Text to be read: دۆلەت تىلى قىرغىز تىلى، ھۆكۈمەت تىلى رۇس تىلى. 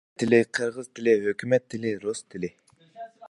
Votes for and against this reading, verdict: 0, 2, rejected